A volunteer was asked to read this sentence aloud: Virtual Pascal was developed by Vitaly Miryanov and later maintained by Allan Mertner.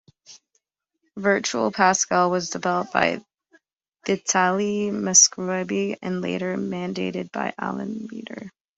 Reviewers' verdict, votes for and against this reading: rejected, 0, 3